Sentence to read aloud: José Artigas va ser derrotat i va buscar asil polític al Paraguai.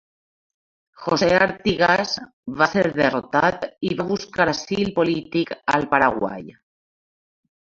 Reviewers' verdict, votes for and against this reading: rejected, 1, 2